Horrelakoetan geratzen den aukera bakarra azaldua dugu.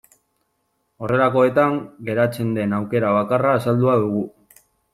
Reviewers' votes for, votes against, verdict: 2, 0, accepted